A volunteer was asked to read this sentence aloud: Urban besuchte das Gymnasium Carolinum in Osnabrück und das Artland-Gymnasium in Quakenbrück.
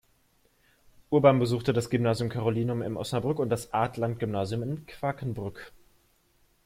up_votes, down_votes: 1, 2